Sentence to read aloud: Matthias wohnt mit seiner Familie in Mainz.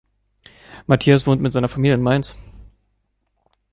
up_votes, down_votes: 3, 0